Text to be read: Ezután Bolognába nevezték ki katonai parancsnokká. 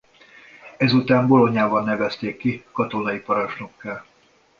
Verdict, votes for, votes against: rejected, 0, 2